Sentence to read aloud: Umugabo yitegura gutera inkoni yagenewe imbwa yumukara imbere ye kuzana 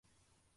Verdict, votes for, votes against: rejected, 0, 2